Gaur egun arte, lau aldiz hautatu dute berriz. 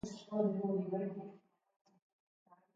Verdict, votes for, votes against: rejected, 0, 5